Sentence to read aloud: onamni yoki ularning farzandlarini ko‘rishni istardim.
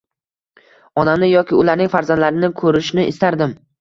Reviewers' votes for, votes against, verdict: 2, 1, accepted